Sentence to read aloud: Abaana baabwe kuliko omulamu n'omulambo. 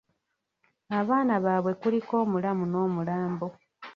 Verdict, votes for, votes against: rejected, 1, 2